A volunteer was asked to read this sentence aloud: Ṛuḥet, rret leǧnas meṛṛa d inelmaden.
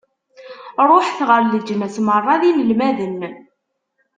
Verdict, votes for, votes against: rejected, 0, 2